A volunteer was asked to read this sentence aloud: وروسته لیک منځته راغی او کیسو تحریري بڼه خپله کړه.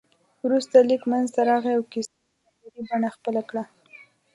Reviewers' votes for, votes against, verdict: 1, 2, rejected